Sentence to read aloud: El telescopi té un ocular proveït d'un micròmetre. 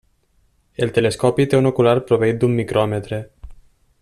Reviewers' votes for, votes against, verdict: 3, 0, accepted